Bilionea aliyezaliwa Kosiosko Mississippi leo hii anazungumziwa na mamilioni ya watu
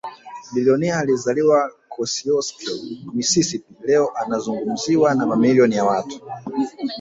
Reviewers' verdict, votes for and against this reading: rejected, 1, 2